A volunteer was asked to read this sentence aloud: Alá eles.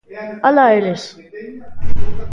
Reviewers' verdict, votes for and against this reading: accepted, 2, 0